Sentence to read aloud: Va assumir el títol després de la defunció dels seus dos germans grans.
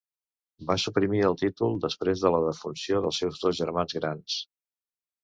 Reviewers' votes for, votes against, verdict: 0, 2, rejected